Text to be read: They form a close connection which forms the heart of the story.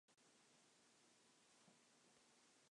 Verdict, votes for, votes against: rejected, 0, 3